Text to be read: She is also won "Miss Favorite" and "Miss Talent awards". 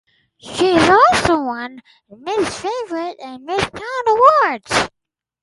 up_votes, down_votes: 4, 0